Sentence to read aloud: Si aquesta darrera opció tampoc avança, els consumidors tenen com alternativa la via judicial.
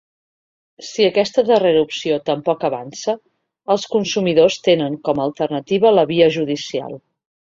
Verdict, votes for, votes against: accepted, 2, 0